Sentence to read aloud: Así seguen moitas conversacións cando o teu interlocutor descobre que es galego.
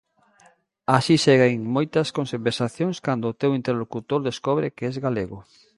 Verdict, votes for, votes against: rejected, 0, 2